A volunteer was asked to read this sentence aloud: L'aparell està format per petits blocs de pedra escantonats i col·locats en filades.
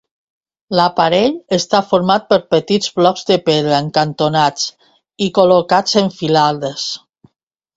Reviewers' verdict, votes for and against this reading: rejected, 0, 2